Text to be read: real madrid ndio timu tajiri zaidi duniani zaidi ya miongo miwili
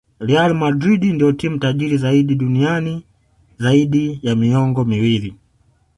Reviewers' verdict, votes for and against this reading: accepted, 2, 1